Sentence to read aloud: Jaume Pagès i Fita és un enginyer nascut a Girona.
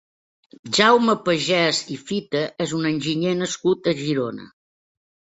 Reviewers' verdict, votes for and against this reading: accepted, 3, 0